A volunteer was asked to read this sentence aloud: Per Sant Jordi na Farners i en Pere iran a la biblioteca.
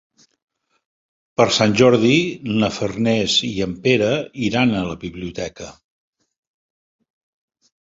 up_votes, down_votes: 3, 0